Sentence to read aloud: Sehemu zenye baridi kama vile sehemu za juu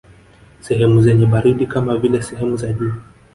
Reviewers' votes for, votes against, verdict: 1, 2, rejected